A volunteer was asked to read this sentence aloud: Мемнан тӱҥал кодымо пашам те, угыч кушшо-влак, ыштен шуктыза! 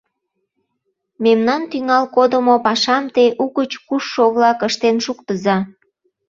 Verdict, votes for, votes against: accepted, 2, 0